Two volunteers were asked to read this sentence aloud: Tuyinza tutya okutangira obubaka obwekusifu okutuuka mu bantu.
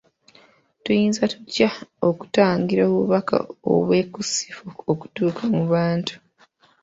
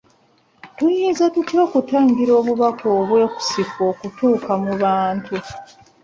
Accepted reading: second